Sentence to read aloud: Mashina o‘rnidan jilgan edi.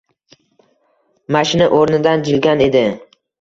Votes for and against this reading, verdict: 2, 0, accepted